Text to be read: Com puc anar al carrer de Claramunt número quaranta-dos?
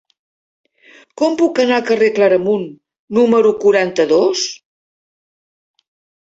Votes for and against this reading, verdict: 0, 2, rejected